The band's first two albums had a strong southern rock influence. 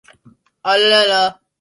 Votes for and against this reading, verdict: 0, 2, rejected